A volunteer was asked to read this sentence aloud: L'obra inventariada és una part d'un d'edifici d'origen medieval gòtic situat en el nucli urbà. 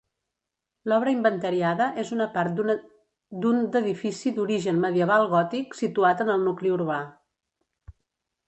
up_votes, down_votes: 0, 2